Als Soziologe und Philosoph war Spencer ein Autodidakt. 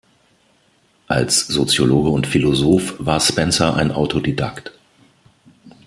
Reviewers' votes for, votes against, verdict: 2, 0, accepted